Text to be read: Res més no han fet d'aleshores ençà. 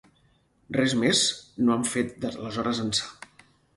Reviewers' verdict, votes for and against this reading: rejected, 2, 4